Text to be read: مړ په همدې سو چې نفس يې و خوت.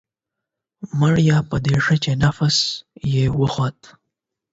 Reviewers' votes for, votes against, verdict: 4, 8, rejected